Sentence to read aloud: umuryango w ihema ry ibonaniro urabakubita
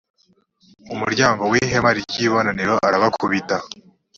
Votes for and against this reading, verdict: 1, 2, rejected